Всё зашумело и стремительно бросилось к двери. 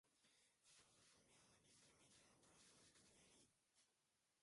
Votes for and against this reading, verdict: 0, 2, rejected